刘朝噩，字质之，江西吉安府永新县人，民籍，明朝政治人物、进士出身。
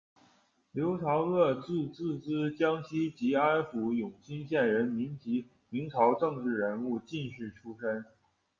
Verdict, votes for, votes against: accepted, 2, 0